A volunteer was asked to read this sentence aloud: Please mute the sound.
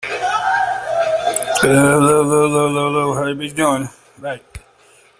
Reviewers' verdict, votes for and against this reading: rejected, 0, 2